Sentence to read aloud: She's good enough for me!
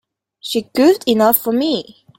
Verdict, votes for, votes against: rejected, 0, 2